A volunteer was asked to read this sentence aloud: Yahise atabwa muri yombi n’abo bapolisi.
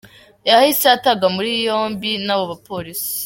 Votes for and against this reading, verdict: 2, 1, accepted